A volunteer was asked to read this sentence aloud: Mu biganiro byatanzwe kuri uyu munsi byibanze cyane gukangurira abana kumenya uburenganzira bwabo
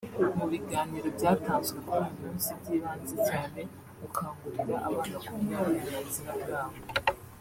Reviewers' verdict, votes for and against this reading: rejected, 0, 2